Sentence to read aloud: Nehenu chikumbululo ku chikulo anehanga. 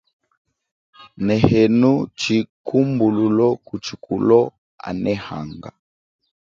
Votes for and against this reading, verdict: 3, 0, accepted